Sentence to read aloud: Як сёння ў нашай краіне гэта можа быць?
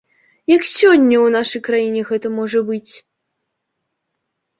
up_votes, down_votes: 2, 0